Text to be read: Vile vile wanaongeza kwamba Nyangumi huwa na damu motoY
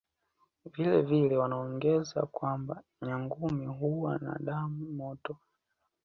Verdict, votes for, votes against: accepted, 2, 0